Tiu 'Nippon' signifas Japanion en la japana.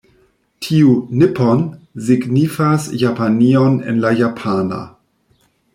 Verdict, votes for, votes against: rejected, 0, 2